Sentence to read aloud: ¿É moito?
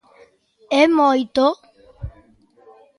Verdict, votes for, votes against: rejected, 1, 2